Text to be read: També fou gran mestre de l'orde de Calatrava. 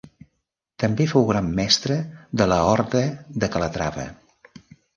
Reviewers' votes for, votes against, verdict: 1, 2, rejected